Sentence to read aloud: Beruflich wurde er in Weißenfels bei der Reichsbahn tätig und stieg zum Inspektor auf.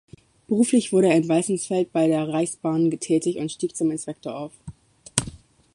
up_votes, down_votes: 0, 2